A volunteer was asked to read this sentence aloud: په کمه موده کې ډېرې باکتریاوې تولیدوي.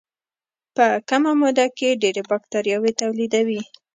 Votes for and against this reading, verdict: 2, 0, accepted